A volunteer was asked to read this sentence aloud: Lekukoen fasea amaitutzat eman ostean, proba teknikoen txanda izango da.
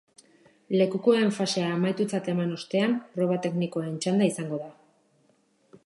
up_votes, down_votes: 3, 0